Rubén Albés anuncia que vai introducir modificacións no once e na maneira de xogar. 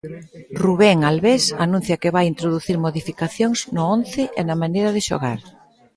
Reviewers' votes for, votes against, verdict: 1, 2, rejected